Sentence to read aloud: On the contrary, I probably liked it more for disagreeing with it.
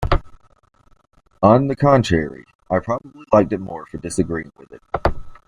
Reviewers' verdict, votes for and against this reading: accepted, 2, 0